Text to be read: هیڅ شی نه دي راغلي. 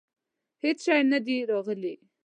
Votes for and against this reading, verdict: 2, 0, accepted